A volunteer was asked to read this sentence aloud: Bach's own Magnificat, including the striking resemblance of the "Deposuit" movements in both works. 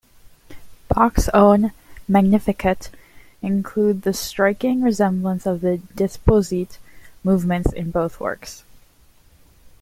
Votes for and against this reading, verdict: 0, 2, rejected